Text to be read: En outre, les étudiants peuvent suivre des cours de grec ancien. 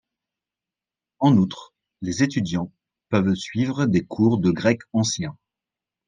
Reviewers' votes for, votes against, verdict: 2, 0, accepted